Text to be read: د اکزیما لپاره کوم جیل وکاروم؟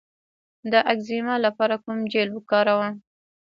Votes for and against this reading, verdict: 1, 2, rejected